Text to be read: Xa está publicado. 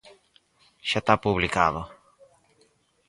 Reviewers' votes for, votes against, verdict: 0, 4, rejected